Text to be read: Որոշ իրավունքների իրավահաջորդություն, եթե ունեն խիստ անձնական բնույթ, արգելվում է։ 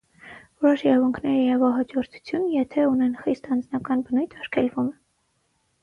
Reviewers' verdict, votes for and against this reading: rejected, 0, 6